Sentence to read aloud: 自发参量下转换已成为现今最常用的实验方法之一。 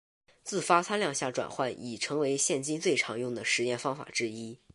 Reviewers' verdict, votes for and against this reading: accepted, 3, 0